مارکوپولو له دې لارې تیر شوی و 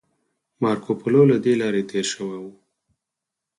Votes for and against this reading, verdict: 4, 0, accepted